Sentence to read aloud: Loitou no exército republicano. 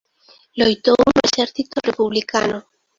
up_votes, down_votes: 0, 2